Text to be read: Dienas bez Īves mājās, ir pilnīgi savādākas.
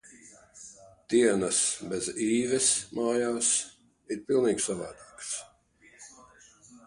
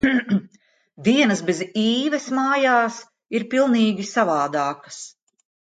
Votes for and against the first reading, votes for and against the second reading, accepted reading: 3, 0, 0, 2, first